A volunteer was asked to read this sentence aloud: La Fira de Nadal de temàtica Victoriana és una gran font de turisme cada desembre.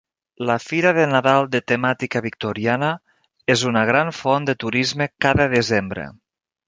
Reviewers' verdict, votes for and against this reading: accepted, 3, 0